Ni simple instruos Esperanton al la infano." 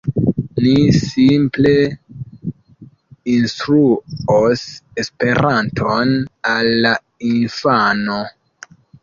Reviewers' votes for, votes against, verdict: 0, 2, rejected